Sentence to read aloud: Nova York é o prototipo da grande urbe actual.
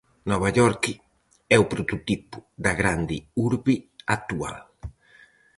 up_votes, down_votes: 2, 2